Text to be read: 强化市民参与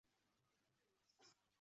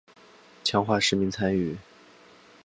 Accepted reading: second